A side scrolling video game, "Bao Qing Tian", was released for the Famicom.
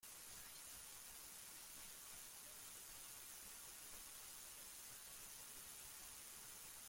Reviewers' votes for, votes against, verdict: 0, 2, rejected